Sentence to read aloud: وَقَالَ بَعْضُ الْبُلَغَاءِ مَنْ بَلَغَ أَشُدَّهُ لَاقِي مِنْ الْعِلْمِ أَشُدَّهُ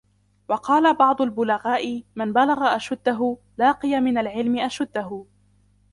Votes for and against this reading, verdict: 0, 2, rejected